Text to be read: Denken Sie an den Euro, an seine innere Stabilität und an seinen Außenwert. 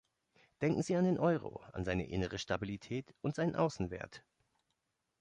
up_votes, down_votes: 1, 2